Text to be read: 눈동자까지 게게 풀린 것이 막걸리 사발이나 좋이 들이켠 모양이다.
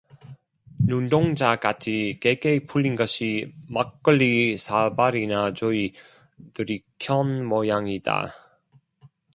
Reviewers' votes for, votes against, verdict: 0, 2, rejected